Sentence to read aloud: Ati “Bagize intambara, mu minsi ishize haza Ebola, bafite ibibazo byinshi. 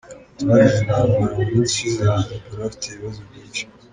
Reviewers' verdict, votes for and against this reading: rejected, 1, 2